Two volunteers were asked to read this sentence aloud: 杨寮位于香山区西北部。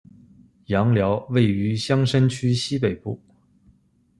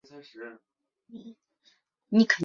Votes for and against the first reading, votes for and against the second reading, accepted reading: 2, 0, 1, 2, first